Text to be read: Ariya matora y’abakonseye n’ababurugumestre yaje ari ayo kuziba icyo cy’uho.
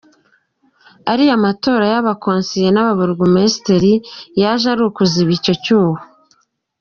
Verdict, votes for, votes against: rejected, 0, 2